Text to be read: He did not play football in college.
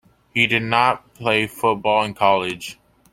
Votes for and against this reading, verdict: 2, 0, accepted